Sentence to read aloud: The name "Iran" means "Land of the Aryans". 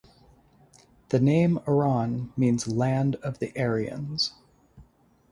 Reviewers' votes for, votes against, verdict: 2, 0, accepted